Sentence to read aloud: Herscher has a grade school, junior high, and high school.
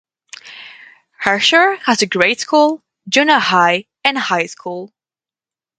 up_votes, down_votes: 2, 0